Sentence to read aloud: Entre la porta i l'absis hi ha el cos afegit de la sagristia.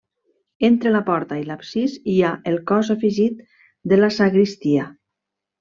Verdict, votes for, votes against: rejected, 0, 2